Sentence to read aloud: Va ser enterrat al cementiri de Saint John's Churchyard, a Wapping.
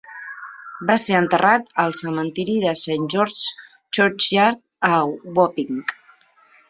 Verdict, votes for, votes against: rejected, 1, 2